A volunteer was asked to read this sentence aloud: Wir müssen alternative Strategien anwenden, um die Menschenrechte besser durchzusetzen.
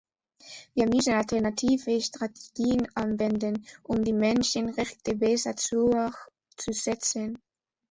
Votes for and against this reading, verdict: 0, 2, rejected